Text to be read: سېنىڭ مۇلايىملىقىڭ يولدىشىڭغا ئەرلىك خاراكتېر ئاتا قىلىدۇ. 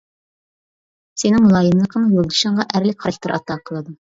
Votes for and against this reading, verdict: 0, 2, rejected